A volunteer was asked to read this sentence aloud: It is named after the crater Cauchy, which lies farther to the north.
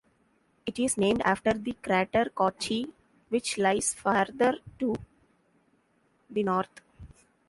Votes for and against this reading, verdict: 0, 2, rejected